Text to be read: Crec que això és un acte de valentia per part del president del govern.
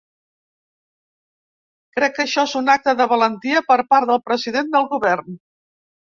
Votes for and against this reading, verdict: 3, 0, accepted